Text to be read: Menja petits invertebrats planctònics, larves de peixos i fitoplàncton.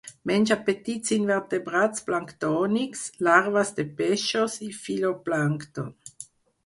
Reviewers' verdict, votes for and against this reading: accepted, 4, 0